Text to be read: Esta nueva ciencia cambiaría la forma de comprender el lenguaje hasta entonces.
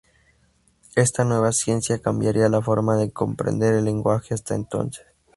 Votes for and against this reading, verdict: 0, 2, rejected